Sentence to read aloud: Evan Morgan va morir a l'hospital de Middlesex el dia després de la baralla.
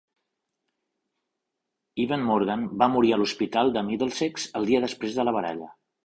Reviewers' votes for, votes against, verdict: 4, 0, accepted